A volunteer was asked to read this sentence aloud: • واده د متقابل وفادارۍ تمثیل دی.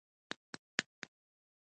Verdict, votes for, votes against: accepted, 2, 1